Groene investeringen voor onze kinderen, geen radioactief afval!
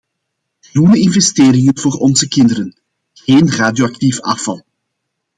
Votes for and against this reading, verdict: 2, 0, accepted